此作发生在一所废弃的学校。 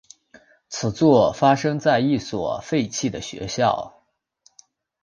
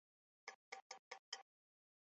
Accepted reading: first